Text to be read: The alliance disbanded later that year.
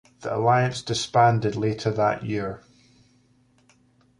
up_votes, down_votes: 2, 0